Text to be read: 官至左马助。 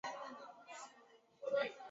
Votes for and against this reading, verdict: 0, 3, rejected